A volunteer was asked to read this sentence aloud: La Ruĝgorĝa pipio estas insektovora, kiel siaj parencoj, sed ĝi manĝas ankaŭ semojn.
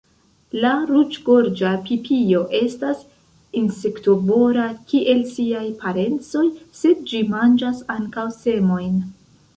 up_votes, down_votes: 1, 2